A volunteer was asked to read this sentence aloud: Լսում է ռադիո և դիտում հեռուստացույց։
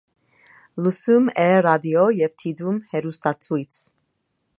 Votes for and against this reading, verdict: 2, 0, accepted